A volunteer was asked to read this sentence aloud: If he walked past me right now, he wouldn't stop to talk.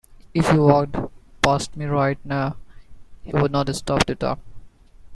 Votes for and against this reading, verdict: 1, 2, rejected